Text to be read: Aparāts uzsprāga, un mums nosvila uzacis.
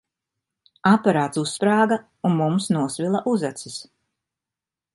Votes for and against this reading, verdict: 2, 0, accepted